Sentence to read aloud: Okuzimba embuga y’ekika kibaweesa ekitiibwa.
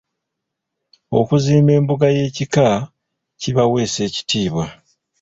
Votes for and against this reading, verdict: 0, 2, rejected